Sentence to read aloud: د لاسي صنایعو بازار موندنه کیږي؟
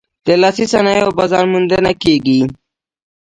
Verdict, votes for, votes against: accepted, 2, 0